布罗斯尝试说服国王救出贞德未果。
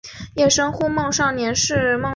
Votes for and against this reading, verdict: 1, 2, rejected